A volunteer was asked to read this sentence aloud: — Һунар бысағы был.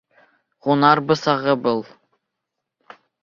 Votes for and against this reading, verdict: 2, 0, accepted